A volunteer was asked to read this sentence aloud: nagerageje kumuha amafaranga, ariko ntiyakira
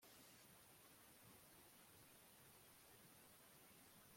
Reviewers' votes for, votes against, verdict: 1, 2, rejected